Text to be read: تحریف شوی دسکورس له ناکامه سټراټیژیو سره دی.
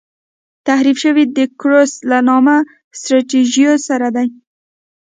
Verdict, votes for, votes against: rejected, 1, 2